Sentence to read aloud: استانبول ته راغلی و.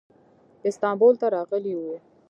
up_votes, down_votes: 2, 1